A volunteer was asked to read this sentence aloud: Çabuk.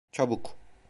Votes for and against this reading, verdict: 0, 2, rejected